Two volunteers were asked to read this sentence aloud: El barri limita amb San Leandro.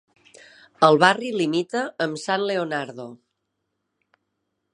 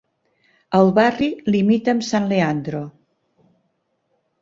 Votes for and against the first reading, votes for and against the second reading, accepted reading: 0, 2, 3, 0, second